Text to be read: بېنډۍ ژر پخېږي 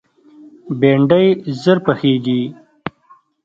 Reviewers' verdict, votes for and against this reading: accepted, 2, 0